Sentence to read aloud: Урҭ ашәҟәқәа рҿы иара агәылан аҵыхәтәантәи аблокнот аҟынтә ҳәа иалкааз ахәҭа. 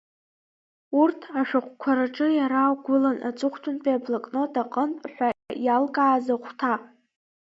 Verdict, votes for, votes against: rejected, 1, 2